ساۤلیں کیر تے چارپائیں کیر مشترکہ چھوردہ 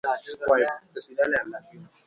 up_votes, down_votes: 0, 2